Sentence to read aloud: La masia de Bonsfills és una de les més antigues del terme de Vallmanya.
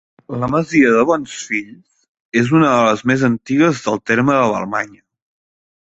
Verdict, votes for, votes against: rejected, 1, 2